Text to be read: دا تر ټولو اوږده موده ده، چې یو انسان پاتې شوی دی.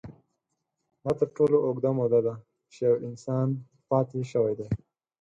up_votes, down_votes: 8, 0